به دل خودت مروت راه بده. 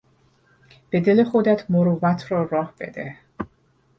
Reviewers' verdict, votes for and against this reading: rejected, 2, 4